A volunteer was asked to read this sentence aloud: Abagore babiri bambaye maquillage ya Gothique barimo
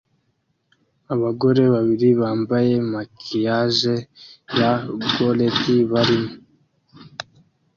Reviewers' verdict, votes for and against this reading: rejected, 0, 2